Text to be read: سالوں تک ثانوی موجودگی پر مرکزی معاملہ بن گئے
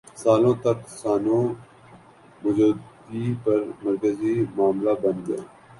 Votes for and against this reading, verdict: 0, 2, rejected